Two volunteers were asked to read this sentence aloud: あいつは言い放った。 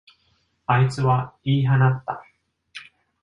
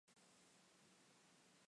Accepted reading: first